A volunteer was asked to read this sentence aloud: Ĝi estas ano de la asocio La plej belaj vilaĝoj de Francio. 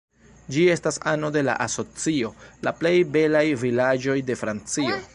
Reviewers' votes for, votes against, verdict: 2, 0, accepted